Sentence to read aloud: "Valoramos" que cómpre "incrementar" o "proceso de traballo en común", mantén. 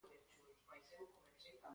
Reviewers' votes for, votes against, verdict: 0, 2, rejected